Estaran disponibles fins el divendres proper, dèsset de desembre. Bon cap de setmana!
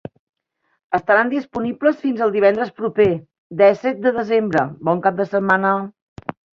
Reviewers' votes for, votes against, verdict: 3, 0, accepted